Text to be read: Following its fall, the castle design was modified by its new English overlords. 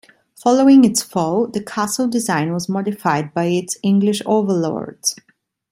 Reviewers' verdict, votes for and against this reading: accepted, 2, 1